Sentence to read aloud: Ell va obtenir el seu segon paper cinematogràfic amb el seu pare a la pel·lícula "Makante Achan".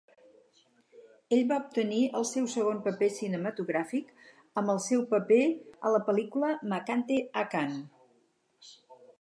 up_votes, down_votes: 2, 2